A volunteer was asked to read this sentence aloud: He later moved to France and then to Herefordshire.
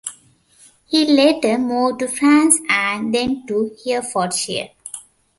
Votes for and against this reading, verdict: 0, 2, rejected